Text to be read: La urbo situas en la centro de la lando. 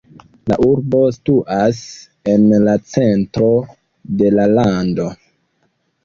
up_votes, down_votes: 1, 2